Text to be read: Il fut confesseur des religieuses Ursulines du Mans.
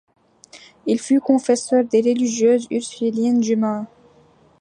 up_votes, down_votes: 2, 0